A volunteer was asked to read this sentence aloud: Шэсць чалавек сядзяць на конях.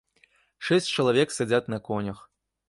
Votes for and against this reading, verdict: 0, 2, rejected